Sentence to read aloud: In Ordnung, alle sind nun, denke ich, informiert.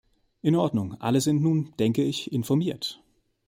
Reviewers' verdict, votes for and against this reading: accepted, 2, 0